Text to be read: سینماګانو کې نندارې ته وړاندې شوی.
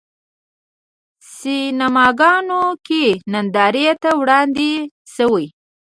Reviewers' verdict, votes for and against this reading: accepted, 2, 0